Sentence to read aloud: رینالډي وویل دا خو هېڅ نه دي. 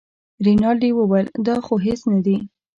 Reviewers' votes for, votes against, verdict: 2, 0, accepted